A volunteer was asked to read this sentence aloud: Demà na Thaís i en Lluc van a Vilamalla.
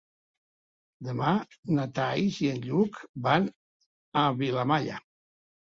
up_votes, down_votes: 3, 1